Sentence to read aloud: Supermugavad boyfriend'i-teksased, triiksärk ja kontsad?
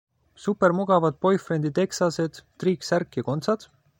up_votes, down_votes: 2, 0